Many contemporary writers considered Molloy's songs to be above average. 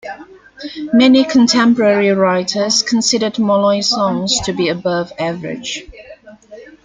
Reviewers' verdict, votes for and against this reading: accepted, 2, 1